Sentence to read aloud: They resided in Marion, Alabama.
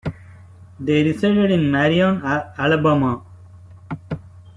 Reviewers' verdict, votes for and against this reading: rejected, 1, 2